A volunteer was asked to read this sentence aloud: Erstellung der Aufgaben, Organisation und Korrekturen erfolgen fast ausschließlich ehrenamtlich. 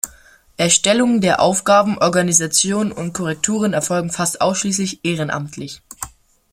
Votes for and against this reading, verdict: 2, 0, accepted